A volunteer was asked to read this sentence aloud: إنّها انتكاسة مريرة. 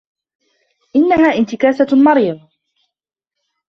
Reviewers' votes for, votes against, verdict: 1, 2, rejected